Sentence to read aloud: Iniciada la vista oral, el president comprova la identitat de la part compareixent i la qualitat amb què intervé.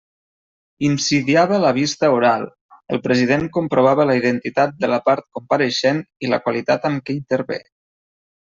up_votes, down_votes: 0, 2